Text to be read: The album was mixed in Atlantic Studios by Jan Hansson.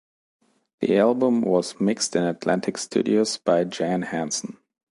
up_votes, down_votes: 2, 0